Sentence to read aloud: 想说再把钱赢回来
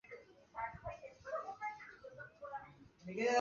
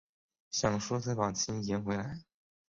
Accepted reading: second